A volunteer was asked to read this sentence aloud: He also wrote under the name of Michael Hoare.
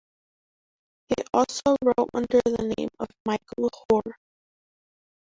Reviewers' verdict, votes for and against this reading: rejected, 0, 2